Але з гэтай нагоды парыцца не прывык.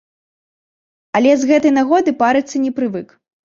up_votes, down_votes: 2, 0